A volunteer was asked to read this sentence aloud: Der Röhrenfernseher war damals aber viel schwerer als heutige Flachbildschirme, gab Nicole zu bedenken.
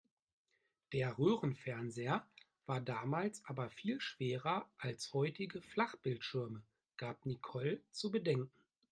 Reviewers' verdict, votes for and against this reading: accepted, 2, 0